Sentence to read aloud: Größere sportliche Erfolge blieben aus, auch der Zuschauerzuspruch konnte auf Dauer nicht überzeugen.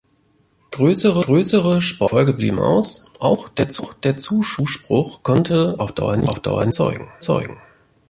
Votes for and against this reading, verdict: 1, 2, rejected